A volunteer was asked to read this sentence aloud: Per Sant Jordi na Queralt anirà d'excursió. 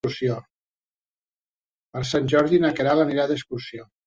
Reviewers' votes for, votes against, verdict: 0, 2, rejected